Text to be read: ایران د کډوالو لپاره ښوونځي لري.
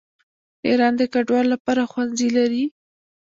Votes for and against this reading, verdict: 1, 2, rejected